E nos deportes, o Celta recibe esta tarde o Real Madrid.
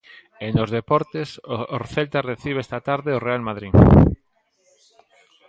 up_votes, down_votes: 0, 2